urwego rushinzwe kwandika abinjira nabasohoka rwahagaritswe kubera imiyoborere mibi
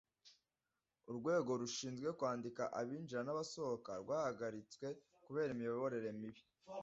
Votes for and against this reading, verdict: 2, 0, accepted